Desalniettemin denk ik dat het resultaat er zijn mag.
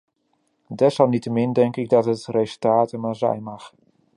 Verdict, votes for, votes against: rejected, 1, 2